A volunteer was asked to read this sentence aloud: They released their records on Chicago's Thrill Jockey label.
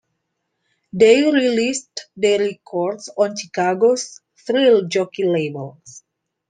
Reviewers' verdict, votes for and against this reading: accepted, 2, 1